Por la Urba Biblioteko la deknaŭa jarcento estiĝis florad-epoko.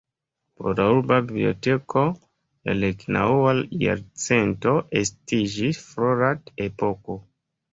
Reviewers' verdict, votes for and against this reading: accepted, 4, 0